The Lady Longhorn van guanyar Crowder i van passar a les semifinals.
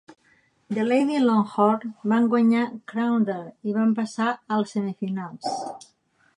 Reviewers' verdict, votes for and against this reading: rejected, 0, 2